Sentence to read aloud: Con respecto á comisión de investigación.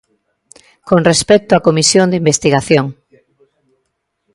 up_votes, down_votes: 2, 0